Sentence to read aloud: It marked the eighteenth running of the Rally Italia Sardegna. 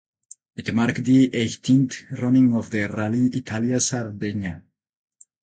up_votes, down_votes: 4, 4